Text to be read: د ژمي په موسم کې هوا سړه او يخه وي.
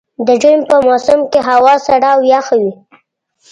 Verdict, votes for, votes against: rejected, 1, 2